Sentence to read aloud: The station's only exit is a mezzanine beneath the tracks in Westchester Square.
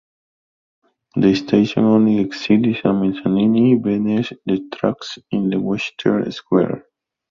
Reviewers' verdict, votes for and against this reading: rejected, 1, 2